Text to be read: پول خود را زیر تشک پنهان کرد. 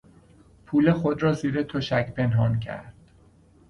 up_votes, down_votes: 2, 0